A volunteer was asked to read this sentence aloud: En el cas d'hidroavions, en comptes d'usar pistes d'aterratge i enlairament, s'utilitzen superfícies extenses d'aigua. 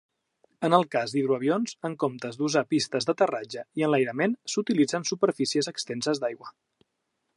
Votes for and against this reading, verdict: 2, 0, accepted